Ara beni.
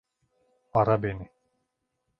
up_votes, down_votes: 2, 0